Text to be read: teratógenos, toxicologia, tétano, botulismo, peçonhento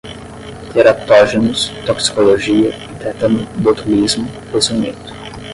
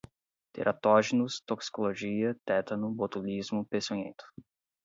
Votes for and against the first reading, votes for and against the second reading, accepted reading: 0, 10, 4, 0, second